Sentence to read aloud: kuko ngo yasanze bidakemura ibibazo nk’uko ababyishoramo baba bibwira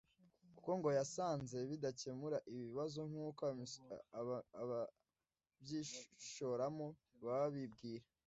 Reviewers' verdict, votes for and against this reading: rejected, 0, 2